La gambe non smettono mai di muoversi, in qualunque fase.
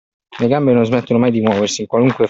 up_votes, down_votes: 0, 2